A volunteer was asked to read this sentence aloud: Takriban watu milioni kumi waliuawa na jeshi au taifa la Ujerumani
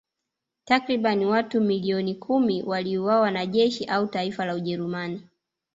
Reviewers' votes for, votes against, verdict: 1, 2, rejected